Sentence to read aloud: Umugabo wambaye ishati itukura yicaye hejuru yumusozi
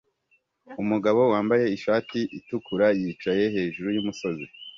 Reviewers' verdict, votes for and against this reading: accepted, 2, 0